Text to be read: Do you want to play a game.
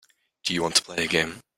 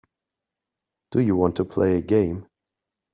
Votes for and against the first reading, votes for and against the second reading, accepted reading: 1, 2, 2, 0, second